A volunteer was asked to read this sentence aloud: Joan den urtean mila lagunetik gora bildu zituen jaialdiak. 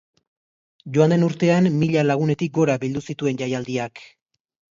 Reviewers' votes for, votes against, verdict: 2, 0, accepted